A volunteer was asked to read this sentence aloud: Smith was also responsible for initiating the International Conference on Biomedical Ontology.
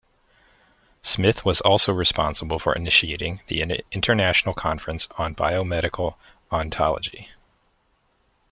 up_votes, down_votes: 0, 2